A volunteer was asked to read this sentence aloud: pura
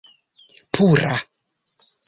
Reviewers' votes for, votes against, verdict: 2, 0, accepted